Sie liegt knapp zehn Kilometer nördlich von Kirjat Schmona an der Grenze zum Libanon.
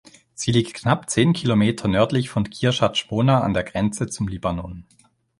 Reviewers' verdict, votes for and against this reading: accepted, 2, 0